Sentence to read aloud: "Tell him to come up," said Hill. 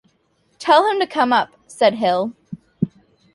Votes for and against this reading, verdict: 2, 0, accepted